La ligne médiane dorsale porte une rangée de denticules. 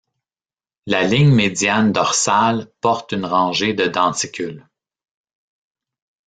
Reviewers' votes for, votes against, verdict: 1, 2, rejected